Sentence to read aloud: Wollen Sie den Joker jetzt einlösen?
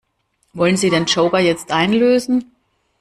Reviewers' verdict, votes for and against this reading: accepted, 2, 0